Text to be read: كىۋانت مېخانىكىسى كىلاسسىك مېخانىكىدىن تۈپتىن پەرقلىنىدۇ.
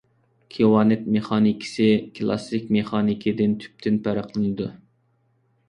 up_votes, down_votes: 2, 0